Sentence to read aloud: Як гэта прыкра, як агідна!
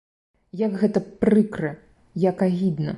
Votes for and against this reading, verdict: 2, 0, accepted